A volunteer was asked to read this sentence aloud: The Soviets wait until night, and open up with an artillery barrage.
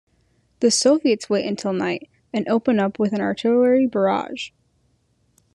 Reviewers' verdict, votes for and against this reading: accepted, 2, 0